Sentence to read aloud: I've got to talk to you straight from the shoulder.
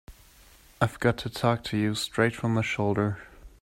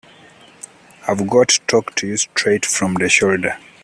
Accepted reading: first